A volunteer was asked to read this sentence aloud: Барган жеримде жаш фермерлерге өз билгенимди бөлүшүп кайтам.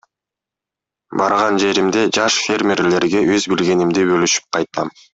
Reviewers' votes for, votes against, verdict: 2, 1, accepted